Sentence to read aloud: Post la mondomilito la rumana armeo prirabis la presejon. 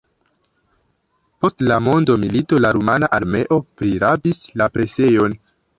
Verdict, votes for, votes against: rejected, 0, 2